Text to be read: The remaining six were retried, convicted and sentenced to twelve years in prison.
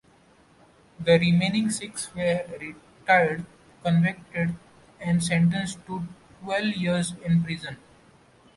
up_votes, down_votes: 1, 2